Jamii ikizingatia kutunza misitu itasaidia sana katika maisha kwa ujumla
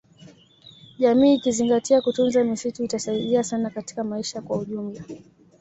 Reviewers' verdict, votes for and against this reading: accepted, 2, 0